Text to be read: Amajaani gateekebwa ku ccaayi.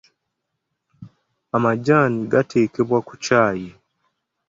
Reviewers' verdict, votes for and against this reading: accepted, 2, 0